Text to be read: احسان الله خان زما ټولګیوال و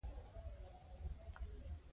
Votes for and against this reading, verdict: 1, 2, rejected